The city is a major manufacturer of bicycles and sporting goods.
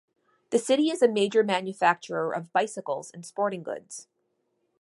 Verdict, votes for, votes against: accepted, 2, 0